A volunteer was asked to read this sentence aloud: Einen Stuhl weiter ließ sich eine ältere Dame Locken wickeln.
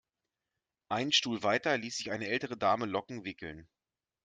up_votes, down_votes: 2, 0